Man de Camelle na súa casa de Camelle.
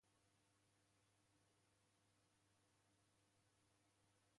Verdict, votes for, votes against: rejected, 0, 2